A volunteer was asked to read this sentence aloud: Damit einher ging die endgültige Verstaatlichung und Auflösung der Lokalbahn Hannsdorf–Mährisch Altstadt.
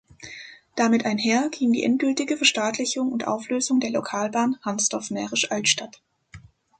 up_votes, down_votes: 2, 0